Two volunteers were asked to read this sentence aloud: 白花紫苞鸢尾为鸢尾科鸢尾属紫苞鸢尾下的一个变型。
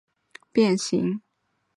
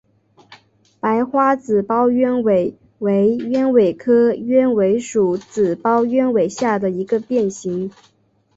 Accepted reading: second